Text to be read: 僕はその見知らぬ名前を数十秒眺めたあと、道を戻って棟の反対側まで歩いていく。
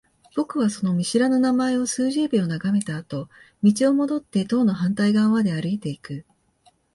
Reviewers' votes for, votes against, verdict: 2, 0, accepted